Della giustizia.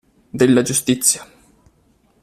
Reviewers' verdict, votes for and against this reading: accepted, 2, 0